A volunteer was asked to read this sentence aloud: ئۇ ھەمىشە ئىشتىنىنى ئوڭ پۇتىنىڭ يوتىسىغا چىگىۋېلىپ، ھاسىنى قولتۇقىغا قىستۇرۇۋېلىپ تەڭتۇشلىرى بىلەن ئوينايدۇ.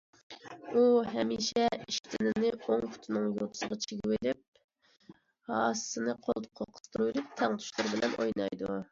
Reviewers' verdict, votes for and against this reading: rejected, 1, 2